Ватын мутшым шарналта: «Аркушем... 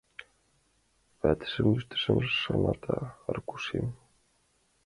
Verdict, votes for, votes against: rejected, 0, 2